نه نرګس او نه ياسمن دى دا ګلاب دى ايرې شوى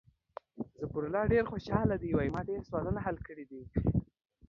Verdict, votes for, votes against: rejected, 0, 2